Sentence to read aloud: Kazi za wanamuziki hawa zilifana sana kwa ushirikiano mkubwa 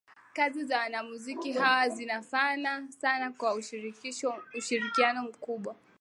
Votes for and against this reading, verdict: 2, 3, rejected